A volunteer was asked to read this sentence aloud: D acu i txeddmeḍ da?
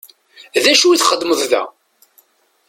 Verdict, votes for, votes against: accepted, 2, 0